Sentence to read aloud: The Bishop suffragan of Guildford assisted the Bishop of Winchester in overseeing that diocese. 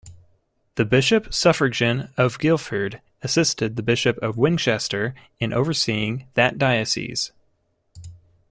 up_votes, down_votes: 2, 0